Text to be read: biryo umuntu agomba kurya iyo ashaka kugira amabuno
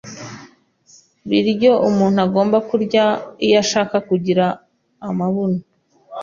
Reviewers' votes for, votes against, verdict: 2, 0, accepted